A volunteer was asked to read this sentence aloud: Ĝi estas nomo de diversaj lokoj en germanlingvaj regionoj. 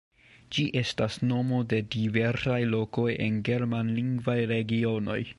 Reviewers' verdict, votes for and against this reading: rejected, 0, 2